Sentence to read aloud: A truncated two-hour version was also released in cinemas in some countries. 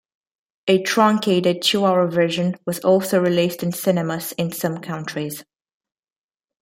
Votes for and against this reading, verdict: 2, 0, accepted